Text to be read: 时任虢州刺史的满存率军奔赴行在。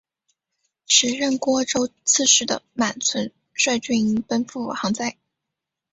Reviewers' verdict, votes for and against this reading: accepted, 3, 1